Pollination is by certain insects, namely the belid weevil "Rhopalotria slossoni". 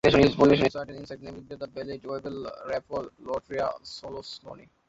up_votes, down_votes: 0, 2